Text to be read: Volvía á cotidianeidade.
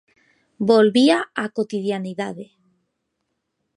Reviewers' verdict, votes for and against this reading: accepted, 2, 0